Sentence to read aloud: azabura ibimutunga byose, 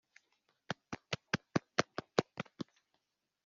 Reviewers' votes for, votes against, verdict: 1, 2, rejected